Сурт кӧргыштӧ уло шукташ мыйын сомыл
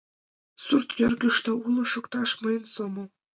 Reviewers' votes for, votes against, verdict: 2, 0, accepted